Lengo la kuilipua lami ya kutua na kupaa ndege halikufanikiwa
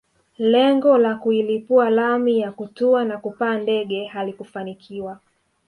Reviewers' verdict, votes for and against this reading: accepted, 3, 0